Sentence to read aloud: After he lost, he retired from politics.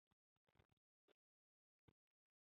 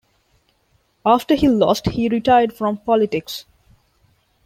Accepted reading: second